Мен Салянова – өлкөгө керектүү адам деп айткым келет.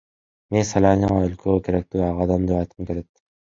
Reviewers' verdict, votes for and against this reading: rejected, 0, 2